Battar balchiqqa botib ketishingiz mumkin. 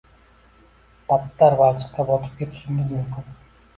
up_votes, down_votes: 2, 0